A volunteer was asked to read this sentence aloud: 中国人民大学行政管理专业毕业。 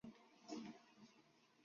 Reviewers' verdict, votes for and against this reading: rejected, 0, 2